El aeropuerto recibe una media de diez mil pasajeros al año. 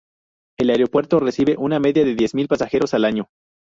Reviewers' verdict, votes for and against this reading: rejected, 2, 2